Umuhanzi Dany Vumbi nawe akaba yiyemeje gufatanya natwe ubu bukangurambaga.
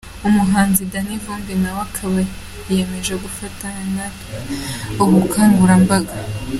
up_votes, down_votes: 2, 1